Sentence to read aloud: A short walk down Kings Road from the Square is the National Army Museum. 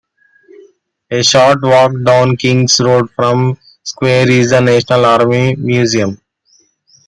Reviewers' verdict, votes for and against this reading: rejected, 0, 2